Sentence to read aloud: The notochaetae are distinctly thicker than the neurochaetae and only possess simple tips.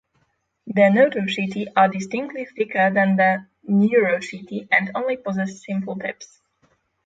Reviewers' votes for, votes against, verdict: 6, 0, accepted